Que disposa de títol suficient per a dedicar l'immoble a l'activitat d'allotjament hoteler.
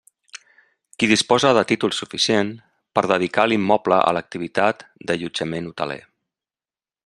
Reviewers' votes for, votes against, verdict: 0, 2, rejected